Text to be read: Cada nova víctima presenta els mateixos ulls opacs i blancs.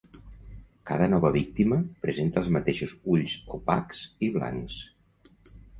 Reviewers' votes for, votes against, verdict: 3, 0, accepted